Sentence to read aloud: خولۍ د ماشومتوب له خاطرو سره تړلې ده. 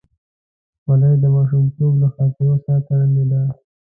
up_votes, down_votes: 0, 2